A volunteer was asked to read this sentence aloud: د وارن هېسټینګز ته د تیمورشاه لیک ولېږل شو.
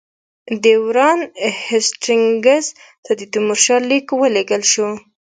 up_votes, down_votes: 1, 2